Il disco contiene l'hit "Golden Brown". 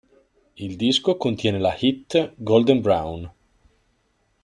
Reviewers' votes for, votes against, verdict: 0, 2, rejected